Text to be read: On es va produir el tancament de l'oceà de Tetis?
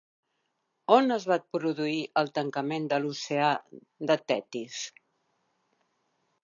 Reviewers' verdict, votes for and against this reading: accepted, 3, 0